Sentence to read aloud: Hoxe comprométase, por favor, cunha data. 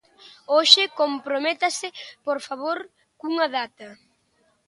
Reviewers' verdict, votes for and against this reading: accepted, 2, 0